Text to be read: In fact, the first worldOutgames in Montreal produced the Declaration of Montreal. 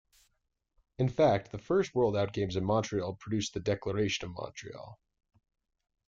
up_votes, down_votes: 2, 0